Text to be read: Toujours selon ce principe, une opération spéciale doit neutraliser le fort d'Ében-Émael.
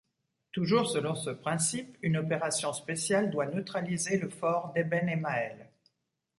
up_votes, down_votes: 2, 0